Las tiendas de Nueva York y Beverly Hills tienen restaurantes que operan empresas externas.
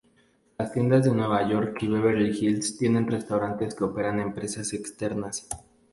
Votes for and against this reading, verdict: 2, 0, accepted